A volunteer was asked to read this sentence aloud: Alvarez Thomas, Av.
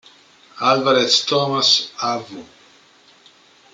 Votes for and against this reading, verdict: 2, 3, rejected